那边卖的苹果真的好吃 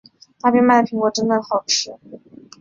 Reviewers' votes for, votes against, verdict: 2, 0, accepted